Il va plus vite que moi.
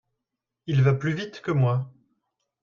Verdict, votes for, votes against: accepted, 2, 0